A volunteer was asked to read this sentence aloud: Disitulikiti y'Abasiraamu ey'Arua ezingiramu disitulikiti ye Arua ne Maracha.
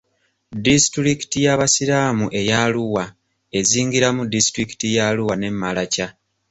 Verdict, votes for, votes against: accepted, 2, 0